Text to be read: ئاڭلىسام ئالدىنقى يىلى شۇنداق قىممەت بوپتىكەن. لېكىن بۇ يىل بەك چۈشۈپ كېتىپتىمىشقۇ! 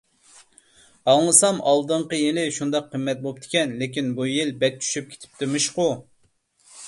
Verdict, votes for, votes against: accepted, 2, 0